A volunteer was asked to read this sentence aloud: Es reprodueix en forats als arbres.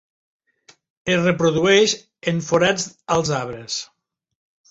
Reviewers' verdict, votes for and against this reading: accepted, 4, 0